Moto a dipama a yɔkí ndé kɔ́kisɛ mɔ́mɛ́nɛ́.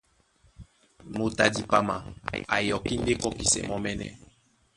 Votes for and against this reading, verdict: 2, 1, accepted